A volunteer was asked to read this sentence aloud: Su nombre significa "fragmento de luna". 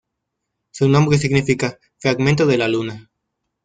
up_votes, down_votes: 1, 2